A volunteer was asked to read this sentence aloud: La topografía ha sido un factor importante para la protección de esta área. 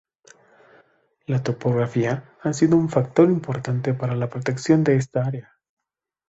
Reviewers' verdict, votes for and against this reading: accepted, 2, 0